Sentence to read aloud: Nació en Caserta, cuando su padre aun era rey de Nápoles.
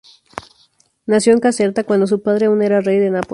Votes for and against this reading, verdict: 0, 2, rejected